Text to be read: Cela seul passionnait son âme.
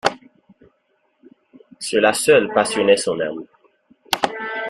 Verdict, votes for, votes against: accepted, 2, 0